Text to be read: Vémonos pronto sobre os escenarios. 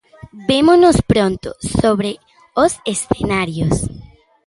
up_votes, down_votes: 2, 0